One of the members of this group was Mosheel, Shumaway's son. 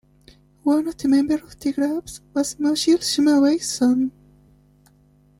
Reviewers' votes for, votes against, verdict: 2, 1, accepted